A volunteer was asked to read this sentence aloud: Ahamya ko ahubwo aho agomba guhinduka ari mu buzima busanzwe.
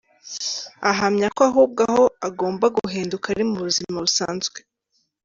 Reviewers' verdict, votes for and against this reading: accepted, 2, 0